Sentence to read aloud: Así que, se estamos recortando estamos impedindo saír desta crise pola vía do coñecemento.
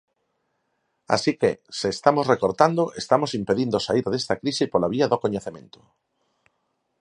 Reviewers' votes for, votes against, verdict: 4, 0, accepted